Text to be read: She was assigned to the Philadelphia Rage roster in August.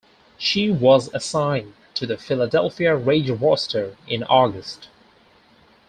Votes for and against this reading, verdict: 4, 0, accepted